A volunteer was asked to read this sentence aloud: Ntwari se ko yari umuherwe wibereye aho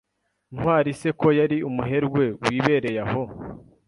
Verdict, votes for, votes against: accepted, 2, 0